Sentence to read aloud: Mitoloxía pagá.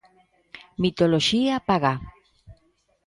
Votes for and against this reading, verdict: 2, 0, accepted